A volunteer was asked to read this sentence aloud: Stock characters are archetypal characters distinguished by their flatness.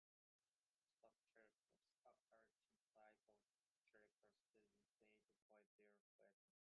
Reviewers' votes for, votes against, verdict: 0, 2, rejected